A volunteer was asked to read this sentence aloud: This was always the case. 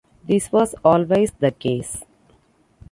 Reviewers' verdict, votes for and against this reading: accepted, 2, 0